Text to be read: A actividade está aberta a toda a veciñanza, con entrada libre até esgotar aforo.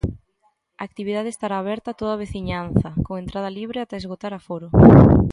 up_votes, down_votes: 1, 2